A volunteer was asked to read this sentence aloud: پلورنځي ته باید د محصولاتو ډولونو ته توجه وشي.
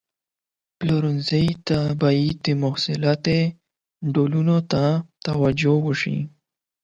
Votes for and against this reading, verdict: 4, 12, rejected